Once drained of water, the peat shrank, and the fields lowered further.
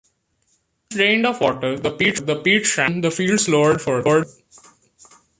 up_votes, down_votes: 1, 2